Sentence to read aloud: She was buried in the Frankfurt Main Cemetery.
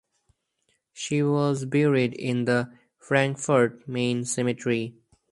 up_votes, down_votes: 2, 2